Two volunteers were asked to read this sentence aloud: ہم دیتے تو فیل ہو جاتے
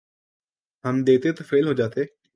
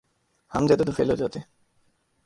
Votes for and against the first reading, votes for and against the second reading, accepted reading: 3, 0, 0, 2, first